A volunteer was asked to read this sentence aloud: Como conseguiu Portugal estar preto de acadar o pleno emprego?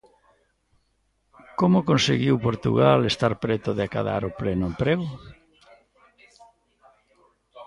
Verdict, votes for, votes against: rejected, 1, 2